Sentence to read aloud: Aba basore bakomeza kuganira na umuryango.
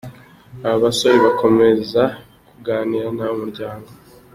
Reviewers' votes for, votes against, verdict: 2, 0, accepted